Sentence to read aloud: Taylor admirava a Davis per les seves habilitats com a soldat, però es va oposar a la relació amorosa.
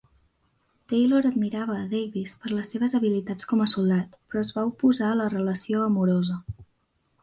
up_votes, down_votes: 4, 0